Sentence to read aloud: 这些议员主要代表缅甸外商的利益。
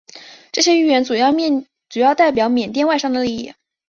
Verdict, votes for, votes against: rejected, 1, 2